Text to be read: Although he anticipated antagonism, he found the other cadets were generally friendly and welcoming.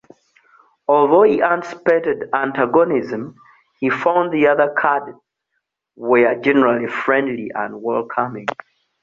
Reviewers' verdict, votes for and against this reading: rejected, 0, 2